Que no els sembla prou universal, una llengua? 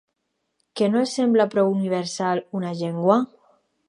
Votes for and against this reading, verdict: 0, 2, rejected